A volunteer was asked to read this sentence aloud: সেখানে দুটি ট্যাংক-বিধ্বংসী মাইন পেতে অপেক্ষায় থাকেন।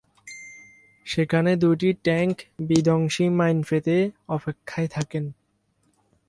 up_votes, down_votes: 2, 2